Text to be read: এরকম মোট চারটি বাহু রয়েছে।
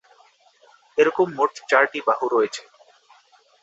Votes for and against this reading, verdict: 2, 0, accepted